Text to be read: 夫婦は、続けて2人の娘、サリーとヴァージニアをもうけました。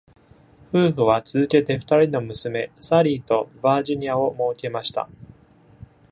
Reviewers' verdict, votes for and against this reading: rejected, 0, 2